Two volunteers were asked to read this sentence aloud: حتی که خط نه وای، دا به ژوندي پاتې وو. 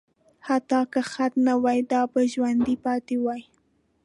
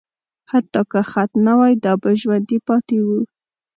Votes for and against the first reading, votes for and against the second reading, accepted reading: 2, 0, 1, 2, first